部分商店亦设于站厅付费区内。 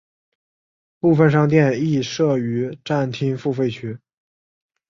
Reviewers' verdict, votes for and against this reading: accepted, 5, 0